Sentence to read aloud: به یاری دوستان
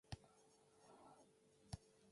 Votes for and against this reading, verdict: 0, 2, rejected